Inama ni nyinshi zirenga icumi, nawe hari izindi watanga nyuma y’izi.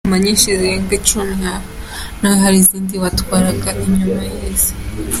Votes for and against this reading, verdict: 1, 2, rejected